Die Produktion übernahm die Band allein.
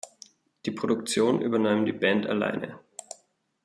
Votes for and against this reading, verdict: 1, 2, rejected